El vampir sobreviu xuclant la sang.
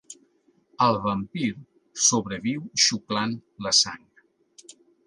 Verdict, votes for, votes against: accepted, 2, 0